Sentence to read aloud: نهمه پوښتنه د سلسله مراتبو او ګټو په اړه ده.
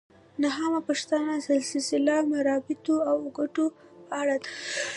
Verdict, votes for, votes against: accepted, 2, 0